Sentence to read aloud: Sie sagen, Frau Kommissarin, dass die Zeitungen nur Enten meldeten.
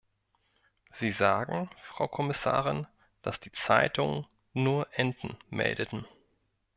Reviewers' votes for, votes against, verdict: 2, 0, accepted